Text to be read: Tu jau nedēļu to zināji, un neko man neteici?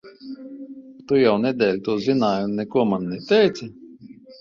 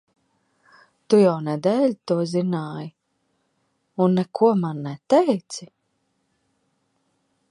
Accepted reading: second